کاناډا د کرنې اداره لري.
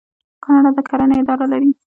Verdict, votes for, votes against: rejected, 1, 2